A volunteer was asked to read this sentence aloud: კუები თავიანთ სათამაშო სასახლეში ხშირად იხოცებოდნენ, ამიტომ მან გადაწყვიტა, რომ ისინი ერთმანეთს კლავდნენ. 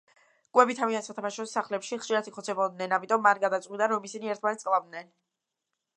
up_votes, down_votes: 1, 2